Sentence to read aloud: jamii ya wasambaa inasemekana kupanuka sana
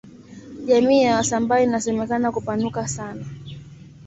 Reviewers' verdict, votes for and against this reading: accepted, 2, 1